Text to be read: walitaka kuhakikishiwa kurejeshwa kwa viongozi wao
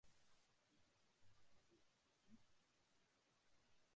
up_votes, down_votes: 0, 2